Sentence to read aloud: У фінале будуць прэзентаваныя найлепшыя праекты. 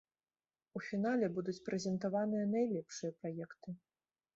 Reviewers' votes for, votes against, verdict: 2, 0, accepted